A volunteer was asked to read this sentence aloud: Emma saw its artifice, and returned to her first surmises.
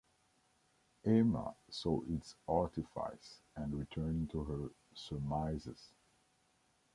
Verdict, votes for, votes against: rejected, 0, 2